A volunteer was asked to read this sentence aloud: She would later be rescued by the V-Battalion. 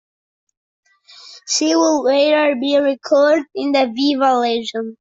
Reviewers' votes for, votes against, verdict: 0, 2, rejected